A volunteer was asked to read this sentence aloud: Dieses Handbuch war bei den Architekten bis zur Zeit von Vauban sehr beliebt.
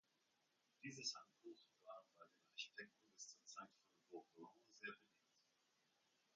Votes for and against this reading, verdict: 0, 2, rejected